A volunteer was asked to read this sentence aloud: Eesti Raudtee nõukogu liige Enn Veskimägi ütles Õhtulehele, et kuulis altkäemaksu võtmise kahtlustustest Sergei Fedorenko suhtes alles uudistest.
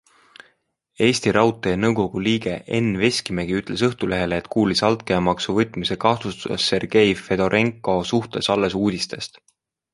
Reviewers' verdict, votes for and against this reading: accepted, 2, 0